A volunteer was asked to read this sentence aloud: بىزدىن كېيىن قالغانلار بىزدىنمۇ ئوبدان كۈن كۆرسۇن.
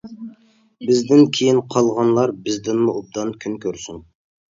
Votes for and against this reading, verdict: 2, 0, accepted